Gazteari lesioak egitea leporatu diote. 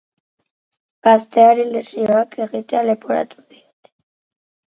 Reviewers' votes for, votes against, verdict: 2, 4, rejected